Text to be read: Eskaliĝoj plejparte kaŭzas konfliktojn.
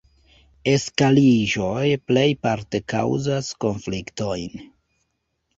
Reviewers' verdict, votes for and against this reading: rejected, 0, 2